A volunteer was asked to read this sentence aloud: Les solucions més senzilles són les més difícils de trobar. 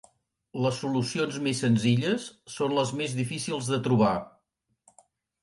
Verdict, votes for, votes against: accepted, 4, 0